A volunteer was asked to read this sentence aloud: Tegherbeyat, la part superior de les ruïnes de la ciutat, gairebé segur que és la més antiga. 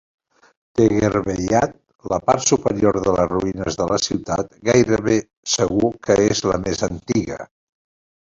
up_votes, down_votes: 2, 1